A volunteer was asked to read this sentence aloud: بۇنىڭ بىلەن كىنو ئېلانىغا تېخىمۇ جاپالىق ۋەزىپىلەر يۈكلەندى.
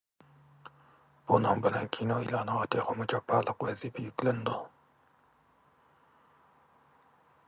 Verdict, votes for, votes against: rejected, 0, 2